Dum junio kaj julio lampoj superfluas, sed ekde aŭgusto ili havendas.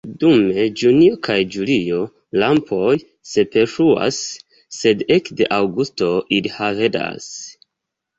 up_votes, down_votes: 2, 0